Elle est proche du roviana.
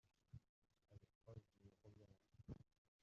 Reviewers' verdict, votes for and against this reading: rejected, 0, 2